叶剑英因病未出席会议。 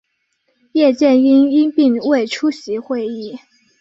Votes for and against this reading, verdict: 2, 0, accepted